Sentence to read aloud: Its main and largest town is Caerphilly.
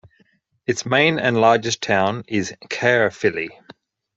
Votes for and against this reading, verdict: 2, 0, accepted